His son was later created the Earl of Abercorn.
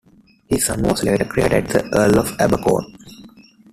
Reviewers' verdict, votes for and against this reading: rejected, 0, 2